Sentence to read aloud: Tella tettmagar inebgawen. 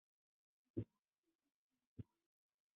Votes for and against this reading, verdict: 0, 2, rejected